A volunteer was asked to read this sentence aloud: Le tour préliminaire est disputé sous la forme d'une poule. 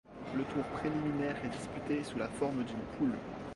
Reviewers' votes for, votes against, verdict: 2, 0, accepted